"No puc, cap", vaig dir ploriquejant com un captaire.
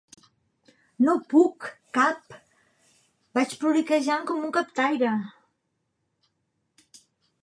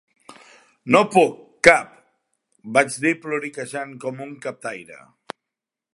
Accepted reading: second